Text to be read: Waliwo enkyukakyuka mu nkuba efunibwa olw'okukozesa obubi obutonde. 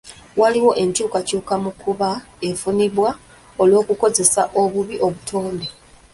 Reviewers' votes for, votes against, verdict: 0, 2, rejected